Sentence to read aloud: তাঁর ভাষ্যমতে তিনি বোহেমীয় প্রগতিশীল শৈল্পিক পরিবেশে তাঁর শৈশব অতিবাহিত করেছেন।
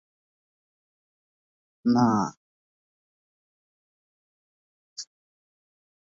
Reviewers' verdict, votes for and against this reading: rejected, 0, 2